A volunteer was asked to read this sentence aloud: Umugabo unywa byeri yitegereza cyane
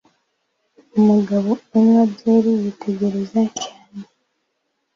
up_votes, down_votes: 2, 1